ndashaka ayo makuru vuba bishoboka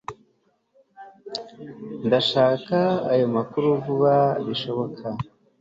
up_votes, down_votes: 2, 0